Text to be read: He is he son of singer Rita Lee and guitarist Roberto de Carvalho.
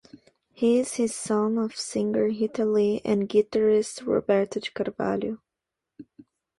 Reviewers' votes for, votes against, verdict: 2, 0, accepted